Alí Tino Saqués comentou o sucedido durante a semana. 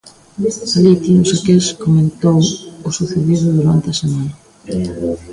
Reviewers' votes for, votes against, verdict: 1, 2, rejected